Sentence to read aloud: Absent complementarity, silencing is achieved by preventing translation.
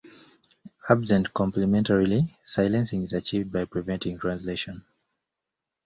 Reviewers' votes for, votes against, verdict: 1, 2, rejected